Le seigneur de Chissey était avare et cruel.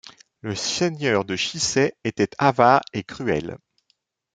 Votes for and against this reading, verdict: 1, 2, rejected